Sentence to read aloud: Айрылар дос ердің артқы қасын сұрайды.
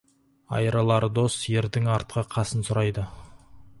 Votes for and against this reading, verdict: 4, 0, accepted